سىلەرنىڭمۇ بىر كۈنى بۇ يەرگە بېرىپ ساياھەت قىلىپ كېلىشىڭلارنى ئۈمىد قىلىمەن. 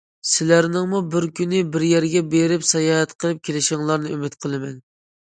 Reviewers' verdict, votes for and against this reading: rejected, 0, 2